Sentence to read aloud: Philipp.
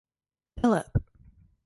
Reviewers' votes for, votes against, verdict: 6, 2, accepted